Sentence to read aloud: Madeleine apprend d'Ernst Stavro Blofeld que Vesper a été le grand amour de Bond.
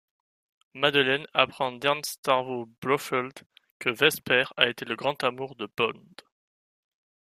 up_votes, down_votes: 1, 2